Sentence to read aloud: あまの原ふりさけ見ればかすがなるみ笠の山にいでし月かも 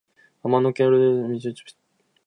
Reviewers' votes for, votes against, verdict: 0, 2, rejected